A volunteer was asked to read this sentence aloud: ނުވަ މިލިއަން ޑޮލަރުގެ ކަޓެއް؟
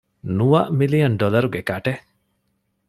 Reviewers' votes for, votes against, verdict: 2, 0, accepted